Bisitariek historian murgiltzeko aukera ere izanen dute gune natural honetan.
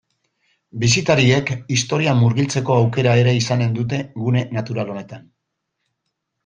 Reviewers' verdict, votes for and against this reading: accepted, 2, 0